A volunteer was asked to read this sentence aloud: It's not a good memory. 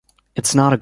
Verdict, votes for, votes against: rejected, 0, 2